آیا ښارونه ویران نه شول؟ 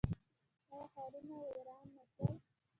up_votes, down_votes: 2, 0